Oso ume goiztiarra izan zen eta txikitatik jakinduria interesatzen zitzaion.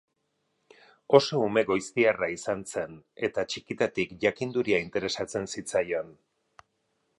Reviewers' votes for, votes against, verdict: 6, 0, accepted